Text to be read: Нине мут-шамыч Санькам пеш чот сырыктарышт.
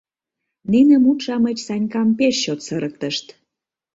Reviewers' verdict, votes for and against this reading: rejected, 0, 2